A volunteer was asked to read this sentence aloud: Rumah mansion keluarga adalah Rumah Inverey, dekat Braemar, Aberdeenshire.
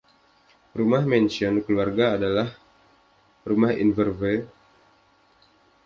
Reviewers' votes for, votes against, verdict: 0, 2, rejected